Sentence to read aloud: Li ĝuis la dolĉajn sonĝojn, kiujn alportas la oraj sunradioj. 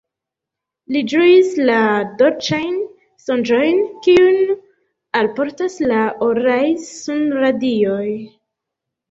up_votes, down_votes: 2, 0